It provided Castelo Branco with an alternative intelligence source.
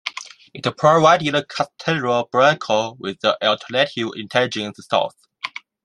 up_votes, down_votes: 0, 2